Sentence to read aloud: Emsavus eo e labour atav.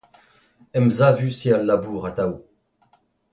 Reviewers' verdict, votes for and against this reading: accepted, 2, 0